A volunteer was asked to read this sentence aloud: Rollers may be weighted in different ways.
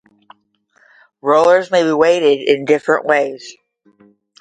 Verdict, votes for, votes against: rejected, 0, 5